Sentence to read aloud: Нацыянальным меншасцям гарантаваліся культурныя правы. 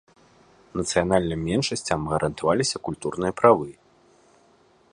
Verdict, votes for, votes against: accepted, 2, 0